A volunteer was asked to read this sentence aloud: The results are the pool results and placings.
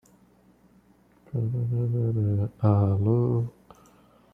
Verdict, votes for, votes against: rejected, 0, 2